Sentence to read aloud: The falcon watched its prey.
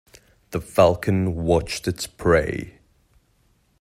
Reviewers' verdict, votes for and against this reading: accepted, 2, 0